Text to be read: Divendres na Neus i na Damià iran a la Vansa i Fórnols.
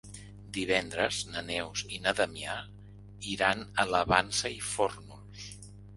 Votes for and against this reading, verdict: 2, 0, accepted